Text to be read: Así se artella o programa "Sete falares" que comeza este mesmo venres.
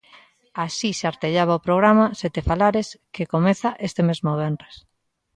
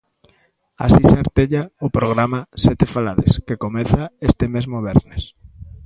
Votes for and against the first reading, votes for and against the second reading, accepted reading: 0, 2, 2, 1, second